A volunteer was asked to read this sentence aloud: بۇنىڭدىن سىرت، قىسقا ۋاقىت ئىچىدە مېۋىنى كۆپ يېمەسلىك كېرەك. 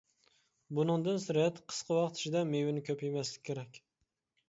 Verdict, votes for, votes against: accepted, 2, 0